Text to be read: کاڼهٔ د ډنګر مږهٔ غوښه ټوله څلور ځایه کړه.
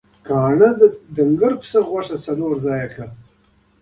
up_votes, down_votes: 0, 2